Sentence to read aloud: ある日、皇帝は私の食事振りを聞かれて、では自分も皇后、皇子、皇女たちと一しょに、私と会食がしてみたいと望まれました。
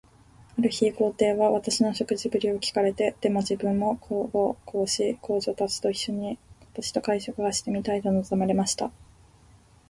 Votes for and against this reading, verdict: 2, 1, accepted